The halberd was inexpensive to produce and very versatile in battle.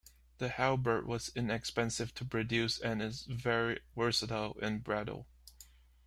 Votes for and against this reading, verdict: 0, 2, rejected